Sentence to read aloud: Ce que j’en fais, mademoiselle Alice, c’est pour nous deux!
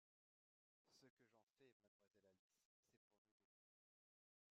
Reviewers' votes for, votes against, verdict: 0, 2, rejected